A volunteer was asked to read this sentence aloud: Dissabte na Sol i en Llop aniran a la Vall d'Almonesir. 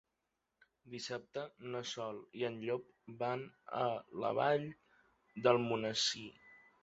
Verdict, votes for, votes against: rejected, 0, 3